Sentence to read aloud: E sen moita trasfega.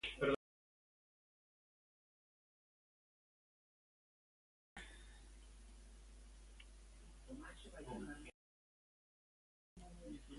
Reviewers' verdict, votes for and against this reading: rejected, 0, 2